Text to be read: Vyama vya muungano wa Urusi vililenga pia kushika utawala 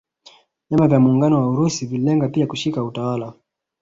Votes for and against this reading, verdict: 2, 0, accepted